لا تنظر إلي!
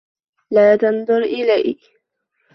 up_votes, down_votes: 2, 0